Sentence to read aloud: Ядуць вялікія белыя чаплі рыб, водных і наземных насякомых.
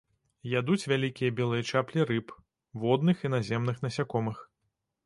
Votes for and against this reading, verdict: 2, 0, accepted